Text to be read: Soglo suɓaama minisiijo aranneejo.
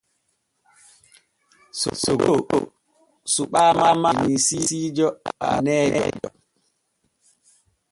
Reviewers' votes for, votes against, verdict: 0, 2, rejected